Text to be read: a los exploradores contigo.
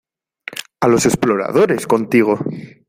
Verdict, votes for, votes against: accepted, 2, 0